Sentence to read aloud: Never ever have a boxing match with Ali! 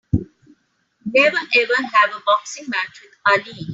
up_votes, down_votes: 2, 1